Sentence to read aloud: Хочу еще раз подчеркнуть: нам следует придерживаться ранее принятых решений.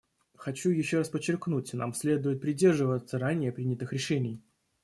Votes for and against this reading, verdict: 1, 2, rejected